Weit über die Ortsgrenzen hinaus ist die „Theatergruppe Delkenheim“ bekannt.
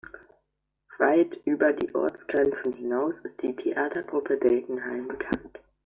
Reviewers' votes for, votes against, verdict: 2, 0, accepted